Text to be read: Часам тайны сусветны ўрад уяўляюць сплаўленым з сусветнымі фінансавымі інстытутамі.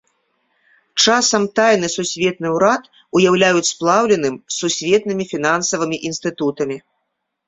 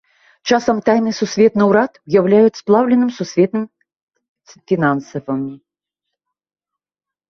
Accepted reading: first